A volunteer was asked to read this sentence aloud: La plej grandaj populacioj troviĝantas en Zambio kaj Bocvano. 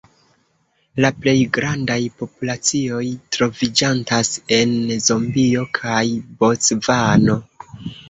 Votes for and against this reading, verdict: 0, 2, rejected